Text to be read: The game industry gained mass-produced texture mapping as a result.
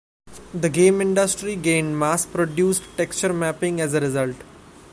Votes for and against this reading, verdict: 2, 0, accepted